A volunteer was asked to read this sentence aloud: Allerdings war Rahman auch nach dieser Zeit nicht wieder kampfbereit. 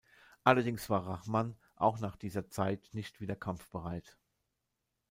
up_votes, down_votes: 1, 2